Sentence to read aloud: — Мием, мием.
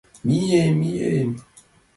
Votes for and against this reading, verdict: 2, 0, accepted